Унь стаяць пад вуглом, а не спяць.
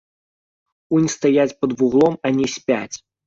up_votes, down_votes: 1, 2